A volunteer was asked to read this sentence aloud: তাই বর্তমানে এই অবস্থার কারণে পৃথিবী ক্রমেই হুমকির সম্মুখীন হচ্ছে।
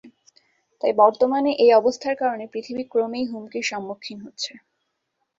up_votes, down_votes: 6, 2